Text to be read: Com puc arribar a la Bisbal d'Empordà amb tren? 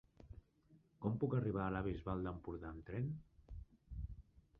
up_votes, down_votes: 3, 1